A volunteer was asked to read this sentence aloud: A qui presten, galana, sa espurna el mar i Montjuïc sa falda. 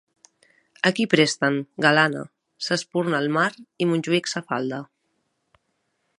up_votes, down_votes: 3, 0